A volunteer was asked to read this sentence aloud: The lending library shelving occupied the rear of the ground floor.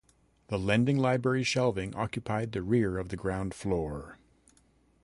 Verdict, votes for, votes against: accepted, 2, 0